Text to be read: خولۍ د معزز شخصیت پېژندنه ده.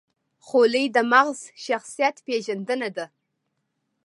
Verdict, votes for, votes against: rejected, 1, 2